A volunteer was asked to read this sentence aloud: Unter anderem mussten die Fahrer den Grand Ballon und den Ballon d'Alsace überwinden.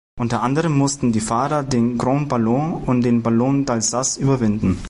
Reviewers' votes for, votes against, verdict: 2, 0, accepted